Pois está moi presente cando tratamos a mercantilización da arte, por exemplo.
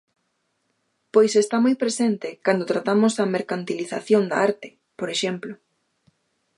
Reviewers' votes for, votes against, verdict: 2, 0, accepted